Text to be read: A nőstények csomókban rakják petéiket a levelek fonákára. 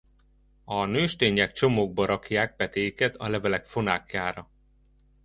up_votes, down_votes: 0, 2